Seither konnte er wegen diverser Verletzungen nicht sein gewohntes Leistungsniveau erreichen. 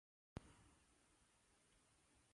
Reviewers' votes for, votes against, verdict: 0, 2, rejected